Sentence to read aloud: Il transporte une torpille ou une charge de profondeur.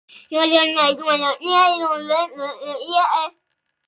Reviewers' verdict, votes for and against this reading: rejected, 0, 2